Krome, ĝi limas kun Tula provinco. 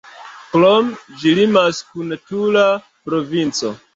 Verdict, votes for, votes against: rejected, 1, 2